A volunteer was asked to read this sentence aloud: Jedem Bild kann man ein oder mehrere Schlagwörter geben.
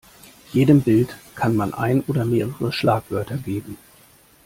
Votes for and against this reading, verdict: 2, 0, accepted